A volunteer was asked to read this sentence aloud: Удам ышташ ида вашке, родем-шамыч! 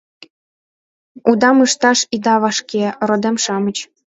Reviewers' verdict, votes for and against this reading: accepted, 2, 0